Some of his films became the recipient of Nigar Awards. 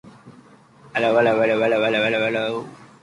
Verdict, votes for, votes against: rejected, 1, 2